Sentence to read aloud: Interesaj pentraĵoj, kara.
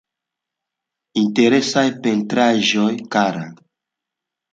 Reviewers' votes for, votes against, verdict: 3, 0, accepted